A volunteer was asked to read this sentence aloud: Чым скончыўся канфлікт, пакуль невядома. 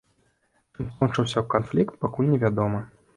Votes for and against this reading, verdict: 2, 0, accepted